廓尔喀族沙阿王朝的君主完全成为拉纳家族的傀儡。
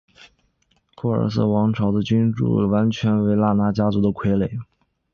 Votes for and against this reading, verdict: 3, 4, rejected